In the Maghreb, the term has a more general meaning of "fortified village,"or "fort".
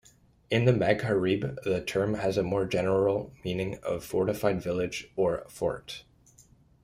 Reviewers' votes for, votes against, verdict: 2, 1, accepted